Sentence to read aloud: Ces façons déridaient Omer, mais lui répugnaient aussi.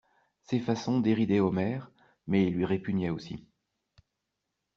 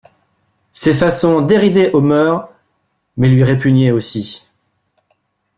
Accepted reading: first